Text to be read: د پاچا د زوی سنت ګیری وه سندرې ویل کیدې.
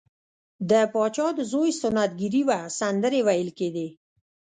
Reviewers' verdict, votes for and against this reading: rejected, 1, 2